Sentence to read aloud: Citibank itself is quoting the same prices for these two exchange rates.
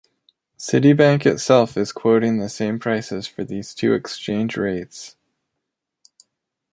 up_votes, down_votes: 2, 0